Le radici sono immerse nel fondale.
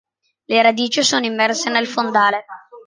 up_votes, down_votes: 3, 0